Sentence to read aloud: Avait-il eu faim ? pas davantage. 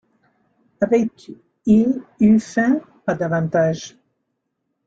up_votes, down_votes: 0, 2